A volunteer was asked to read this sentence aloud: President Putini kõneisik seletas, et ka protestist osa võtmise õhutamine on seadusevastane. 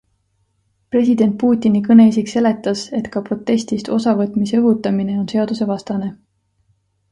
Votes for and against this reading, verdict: 2, 0, accepted